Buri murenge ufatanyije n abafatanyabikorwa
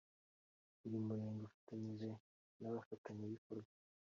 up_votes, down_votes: 2, 0